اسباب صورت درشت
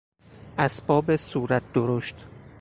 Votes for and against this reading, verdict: 4, 0, accepted